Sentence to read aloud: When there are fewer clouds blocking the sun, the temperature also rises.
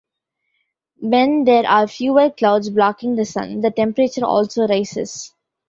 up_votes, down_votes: 2, 0